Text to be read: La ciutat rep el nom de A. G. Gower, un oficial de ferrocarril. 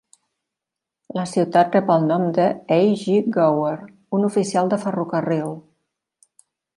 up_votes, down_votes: 2, 0